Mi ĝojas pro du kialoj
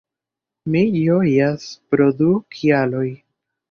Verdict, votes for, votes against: rejected, 0, 2